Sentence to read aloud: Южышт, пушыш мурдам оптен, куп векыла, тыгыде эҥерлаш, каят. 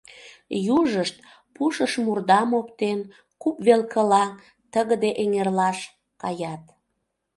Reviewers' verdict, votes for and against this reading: rejected, 0, 2